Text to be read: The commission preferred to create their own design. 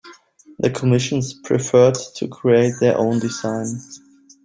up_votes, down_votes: 0, 2